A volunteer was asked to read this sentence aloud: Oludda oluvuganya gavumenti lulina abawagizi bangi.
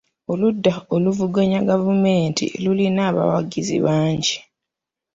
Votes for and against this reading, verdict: 2, 0, accepted